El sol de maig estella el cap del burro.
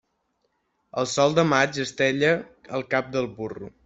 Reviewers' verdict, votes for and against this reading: accepted, 3, 0